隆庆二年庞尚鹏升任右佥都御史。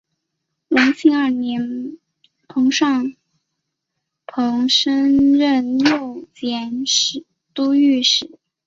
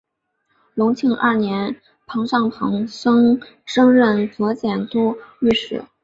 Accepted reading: second